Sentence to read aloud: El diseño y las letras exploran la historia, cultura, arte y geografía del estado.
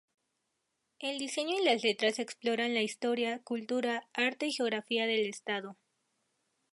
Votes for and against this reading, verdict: 2, 0, accepted